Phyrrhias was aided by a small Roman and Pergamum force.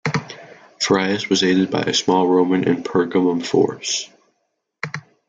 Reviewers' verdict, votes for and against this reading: accepted, 2, 1